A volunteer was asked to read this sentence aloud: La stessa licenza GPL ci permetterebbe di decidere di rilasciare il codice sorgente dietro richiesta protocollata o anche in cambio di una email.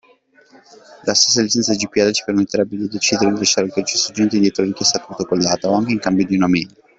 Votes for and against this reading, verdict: 1, 2, rejected